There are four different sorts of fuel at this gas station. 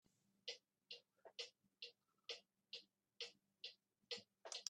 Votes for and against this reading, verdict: 0, 2, rejected